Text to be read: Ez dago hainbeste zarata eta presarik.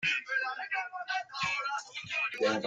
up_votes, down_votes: 0, 2